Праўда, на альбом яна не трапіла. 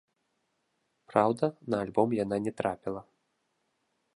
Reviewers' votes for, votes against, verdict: 2, 0, accepted